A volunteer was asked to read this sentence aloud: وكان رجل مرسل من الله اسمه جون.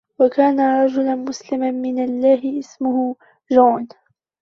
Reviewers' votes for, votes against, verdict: 1, 2, rejected